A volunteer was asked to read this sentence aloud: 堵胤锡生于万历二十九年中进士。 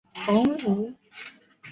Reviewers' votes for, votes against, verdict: 0, 2, rejected